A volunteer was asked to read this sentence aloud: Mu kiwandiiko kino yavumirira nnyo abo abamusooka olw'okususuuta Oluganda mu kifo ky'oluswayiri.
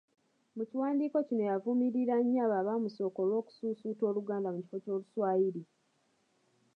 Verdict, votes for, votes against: accepted, 2, 1